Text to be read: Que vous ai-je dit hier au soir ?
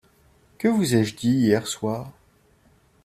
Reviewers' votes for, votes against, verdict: 0, 2, rejected